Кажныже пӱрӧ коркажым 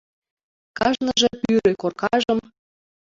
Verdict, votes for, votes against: rejected, 1, 2